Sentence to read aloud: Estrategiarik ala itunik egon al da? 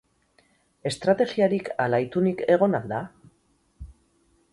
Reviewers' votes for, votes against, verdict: 0, 2, rejected